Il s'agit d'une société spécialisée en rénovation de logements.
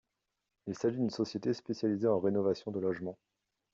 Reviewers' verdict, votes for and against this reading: accepted, 2, 0